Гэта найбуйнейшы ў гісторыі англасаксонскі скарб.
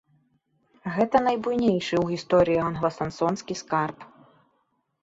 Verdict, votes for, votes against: rejected, 2, 3